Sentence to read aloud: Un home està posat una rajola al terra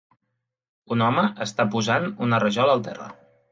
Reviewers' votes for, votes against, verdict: 1, 2, rejected